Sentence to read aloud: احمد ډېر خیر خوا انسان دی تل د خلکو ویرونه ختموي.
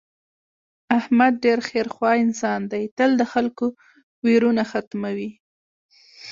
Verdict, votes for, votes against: accepted, 2, 0